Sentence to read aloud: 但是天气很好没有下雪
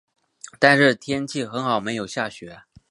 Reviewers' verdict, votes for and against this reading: accepted, 2, 0